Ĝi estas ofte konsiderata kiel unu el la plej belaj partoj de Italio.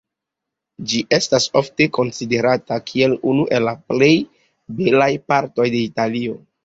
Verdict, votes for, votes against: accepted, 2, 0